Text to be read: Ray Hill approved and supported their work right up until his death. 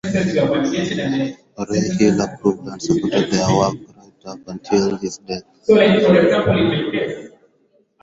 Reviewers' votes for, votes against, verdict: 2, 4, rejected